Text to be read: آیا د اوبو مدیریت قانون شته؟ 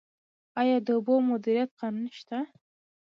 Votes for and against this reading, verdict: 2, 0, accepted